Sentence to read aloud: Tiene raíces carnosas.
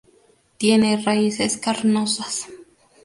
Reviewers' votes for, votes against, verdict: 4, 0, accepted